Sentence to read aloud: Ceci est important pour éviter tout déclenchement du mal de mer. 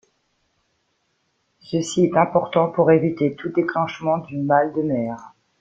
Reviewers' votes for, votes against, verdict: 0, 2, rejected